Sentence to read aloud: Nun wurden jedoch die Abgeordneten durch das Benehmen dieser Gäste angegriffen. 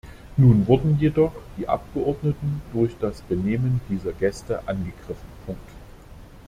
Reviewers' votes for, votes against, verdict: 1, 2, rejected